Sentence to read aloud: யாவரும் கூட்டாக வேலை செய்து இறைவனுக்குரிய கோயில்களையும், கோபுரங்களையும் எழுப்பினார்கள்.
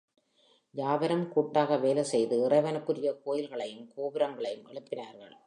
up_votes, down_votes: 0, 2